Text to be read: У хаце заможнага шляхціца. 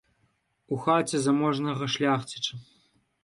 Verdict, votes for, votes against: rejected, 2, 3